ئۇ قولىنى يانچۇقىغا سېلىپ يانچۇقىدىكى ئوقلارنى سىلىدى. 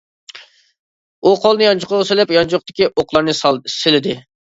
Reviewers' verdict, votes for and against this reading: rejected, 0, 2